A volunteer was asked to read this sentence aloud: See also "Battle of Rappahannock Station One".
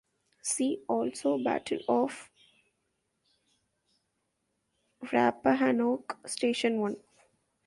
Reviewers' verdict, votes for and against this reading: rejected, 1, 2